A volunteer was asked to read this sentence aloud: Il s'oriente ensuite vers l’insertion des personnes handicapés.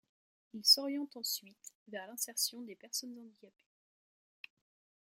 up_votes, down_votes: 1, 2